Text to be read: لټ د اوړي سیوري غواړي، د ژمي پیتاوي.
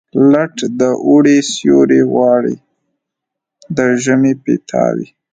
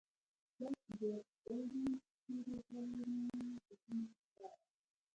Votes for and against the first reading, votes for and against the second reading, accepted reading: 2, 0, 0, 2, first